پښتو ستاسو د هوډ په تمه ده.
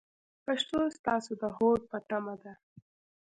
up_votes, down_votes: 0, 2